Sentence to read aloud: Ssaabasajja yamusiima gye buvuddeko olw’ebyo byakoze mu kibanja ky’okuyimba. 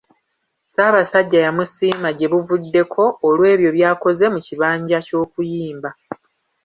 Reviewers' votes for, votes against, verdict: 2, 1, accepted